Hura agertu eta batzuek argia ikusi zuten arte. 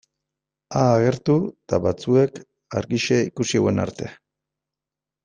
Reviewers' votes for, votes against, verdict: 1, 2, rejected